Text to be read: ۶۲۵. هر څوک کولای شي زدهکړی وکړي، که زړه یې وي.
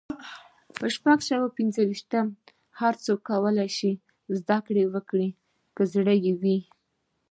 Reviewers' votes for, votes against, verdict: 0, 2, rejected